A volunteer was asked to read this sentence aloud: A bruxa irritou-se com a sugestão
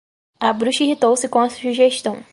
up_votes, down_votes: 4, 0